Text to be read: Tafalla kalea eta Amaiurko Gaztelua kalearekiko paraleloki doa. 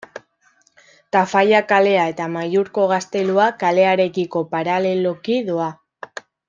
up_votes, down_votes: 2, 0